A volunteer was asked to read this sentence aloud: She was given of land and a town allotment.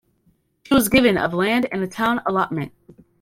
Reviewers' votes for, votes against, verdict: 0, 2, rejected